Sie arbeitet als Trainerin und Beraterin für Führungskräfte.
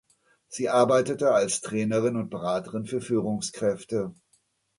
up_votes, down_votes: 1, 2